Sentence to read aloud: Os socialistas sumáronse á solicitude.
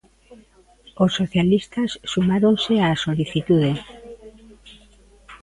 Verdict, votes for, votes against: accepted, 2, 1